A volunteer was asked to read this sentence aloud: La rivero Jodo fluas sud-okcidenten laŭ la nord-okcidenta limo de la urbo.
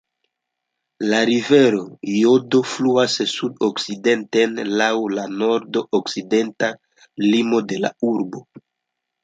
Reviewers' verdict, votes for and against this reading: rejected, 0, 2